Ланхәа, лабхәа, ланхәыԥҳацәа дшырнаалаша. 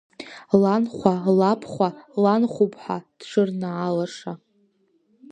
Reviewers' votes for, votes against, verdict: 1, 2, rejected